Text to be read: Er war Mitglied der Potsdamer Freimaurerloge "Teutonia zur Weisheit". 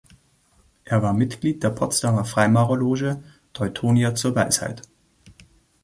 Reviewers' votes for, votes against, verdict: 2, 0, accepted